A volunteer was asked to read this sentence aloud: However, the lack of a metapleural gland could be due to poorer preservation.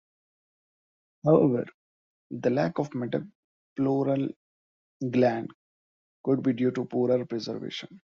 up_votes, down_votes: 1, 2